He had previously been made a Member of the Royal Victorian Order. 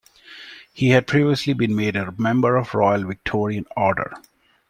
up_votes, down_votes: 1, 2